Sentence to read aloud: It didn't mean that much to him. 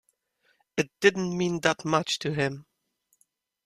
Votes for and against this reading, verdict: 2, 0, accepted